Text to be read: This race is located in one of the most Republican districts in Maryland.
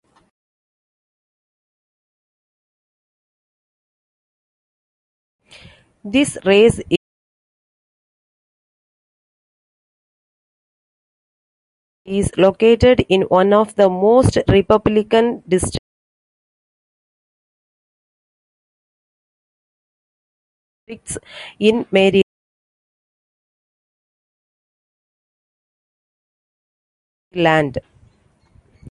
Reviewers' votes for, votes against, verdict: 0, 2, rejected